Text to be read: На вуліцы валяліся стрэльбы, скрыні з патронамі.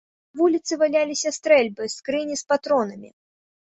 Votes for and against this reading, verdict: 0, 3, rejected